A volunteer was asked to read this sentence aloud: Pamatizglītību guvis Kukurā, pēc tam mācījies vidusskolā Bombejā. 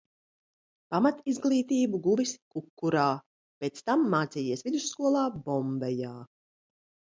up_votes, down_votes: 2, 0